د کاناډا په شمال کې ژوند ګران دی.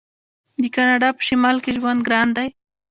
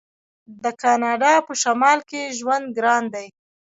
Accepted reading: second